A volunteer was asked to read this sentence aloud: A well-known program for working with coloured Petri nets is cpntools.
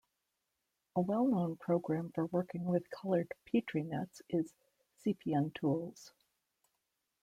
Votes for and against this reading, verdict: 2, 0, accepted